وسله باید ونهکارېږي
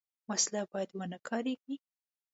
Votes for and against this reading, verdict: 2, 0, accepted